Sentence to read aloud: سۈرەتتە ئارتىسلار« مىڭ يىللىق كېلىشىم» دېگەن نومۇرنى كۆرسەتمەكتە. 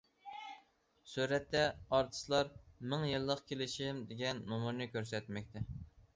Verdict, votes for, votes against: accepted, 2, 0